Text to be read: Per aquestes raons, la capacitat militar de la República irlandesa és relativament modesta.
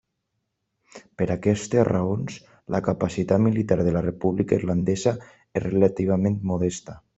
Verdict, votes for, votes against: accepted, 3, 0